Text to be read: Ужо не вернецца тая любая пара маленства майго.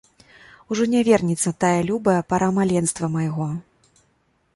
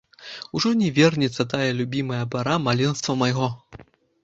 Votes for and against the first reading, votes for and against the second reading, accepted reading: 2, 0, 1, 2, first